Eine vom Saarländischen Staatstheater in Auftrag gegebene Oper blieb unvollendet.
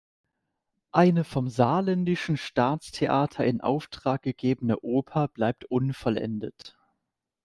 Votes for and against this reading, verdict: 1, 2, rejected